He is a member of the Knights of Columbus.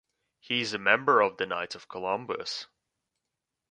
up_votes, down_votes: 2, 0